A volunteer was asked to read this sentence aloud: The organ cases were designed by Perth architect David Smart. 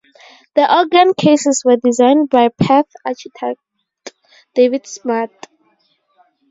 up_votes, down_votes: 0, 4